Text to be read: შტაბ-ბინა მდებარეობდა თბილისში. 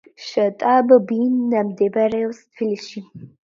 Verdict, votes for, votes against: accepted, 2, 0